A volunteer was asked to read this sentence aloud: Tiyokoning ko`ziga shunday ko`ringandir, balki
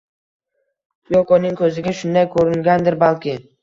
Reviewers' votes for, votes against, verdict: 1, 2, rejected